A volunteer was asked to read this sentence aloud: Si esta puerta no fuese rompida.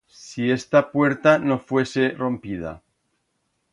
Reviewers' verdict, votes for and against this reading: accepted, 2, 0